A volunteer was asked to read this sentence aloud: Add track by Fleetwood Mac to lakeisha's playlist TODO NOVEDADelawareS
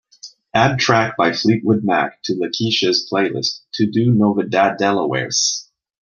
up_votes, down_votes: 2, 0